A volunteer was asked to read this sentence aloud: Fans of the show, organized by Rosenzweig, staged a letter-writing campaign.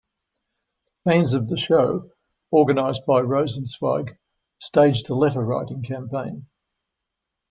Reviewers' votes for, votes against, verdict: 2, 0, accepted